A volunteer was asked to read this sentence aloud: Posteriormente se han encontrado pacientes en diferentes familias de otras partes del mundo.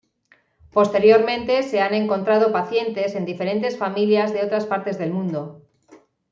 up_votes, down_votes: 2, 0